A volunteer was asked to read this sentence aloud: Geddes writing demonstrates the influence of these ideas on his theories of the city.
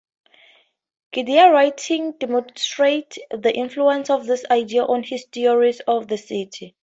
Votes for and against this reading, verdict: 0, 4, rejected